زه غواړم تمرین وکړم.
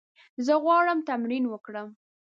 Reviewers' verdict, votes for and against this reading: accepted, 2, 0